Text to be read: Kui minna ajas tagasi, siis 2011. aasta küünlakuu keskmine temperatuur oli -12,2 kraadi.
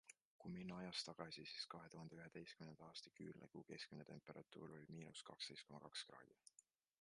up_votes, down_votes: 0, 2